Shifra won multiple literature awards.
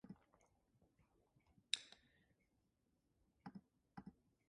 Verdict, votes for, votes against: rejected, 0, 2